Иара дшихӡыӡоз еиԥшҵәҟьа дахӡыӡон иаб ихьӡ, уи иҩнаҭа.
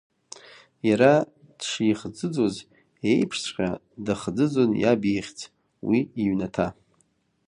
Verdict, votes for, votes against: accepted, 2, 0